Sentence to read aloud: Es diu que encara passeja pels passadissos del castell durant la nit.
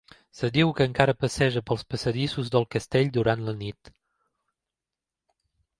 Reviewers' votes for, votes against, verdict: 2, 0, accepted